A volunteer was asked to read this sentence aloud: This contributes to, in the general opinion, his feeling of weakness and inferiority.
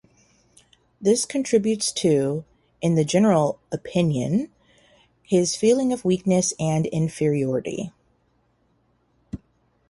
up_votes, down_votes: 2, 2